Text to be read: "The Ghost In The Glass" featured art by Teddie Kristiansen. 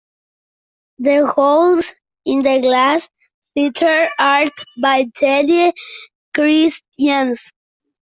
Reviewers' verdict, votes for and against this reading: rejected, 0, 2